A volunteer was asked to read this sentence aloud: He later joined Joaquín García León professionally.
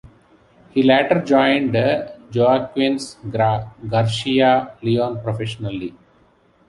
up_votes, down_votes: 0, 2